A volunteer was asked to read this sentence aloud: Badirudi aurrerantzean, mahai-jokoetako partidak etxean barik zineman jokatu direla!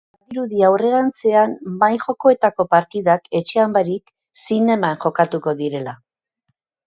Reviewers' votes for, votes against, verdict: 2, 3, rejected